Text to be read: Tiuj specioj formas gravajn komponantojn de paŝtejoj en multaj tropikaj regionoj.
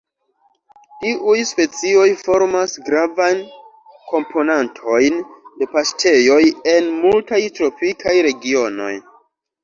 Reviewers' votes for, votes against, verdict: 2, 0, accepted